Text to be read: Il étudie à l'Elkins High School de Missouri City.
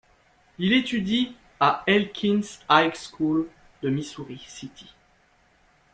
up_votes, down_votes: 1, 2